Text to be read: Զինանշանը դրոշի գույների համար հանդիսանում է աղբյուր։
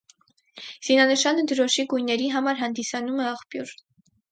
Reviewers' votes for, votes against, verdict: 4, 0, accepted